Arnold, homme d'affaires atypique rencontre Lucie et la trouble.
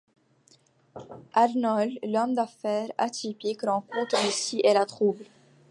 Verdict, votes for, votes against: accepted, 2, 1